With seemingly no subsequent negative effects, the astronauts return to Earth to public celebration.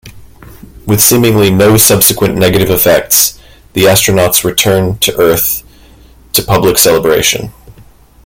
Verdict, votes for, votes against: accepted, 2, 0